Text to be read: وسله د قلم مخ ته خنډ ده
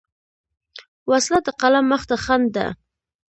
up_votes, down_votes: 2, 0